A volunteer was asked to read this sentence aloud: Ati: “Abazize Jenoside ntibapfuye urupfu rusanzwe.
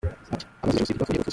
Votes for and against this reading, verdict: 0, 2, rejected